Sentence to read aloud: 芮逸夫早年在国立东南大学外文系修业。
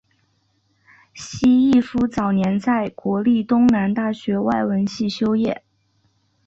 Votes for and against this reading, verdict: 1, 3, rejected